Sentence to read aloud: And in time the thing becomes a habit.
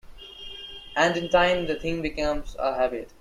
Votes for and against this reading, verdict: 2, 0, accepted